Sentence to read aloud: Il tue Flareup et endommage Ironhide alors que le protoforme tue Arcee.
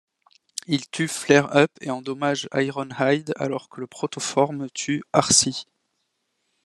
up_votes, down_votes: 0, 2